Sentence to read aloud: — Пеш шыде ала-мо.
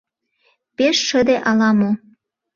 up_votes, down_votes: 2, 0